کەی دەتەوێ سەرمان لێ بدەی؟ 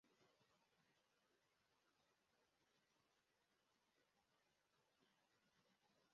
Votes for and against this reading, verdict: 0, 2, rejected